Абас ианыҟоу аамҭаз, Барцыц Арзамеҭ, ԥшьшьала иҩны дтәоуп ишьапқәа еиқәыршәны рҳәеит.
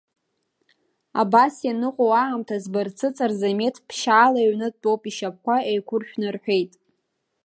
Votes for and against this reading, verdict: 3, 0, accepted